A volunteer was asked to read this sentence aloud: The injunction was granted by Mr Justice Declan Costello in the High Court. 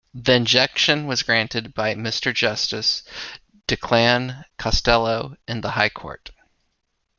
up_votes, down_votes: 2, 0